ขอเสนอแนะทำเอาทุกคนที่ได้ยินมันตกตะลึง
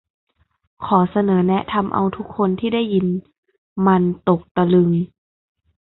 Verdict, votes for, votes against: accepted, 2, 0